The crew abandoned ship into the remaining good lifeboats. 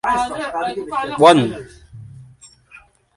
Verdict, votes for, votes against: rejected, 0, 2